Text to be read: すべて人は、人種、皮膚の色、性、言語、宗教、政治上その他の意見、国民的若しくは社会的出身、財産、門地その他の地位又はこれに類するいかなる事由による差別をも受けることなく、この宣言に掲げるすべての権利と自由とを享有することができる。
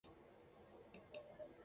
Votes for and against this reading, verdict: 1, 2, rejected